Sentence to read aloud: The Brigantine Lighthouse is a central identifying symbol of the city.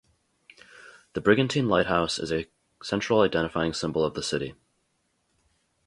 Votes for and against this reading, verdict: 0, 2, rejected